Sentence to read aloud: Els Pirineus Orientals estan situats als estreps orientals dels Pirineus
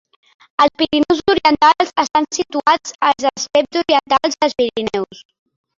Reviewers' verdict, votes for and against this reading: rejected, 1, 5